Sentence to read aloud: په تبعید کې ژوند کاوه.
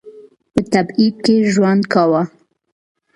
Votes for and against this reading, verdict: 2, 0, accepted